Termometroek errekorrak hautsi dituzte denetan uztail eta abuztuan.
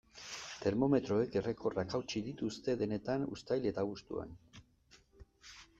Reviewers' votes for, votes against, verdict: 2, 0, accepted